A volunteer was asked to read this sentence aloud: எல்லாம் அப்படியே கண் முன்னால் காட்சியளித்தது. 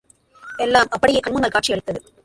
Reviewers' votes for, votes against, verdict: 0, 2, rejected